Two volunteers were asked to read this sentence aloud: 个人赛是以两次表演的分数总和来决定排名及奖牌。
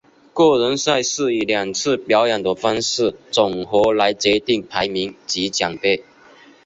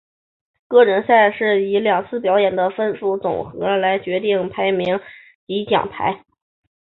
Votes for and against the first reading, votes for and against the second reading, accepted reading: 0, 2, 2, 0, second